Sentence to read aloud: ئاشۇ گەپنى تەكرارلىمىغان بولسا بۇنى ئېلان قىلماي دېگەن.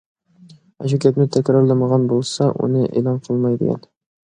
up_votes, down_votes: 0, 2